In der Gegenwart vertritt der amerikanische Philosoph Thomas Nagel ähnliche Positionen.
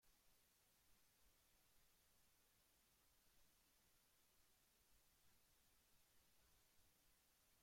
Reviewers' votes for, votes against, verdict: 0, 2, rejected